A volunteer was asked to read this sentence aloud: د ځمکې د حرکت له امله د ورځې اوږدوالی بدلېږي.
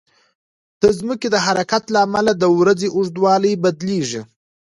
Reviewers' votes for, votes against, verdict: 2, 0, accepted